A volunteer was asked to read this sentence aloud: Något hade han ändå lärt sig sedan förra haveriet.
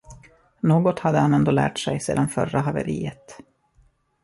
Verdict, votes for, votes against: accepted, 2, 0